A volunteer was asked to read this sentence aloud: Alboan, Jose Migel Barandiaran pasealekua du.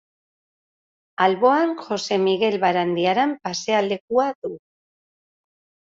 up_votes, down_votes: 2, 0